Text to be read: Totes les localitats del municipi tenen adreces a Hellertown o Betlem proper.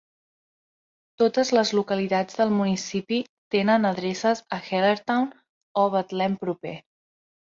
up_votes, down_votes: 3, 0